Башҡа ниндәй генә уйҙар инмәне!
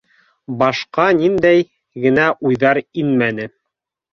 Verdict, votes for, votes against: rejected, 1, 2